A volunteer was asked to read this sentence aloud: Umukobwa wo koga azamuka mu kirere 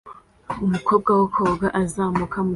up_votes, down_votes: 0, 2